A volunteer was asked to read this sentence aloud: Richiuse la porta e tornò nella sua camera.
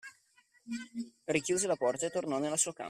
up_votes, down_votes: 1, 2